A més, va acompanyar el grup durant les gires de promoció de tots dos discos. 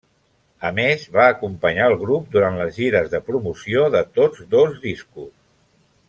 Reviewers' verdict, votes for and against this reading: accepted, 3, 0